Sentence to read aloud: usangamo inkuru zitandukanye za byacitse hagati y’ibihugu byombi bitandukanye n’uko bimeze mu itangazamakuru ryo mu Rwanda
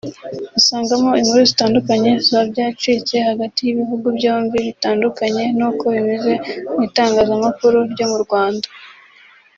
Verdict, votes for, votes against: rejected, 1, 2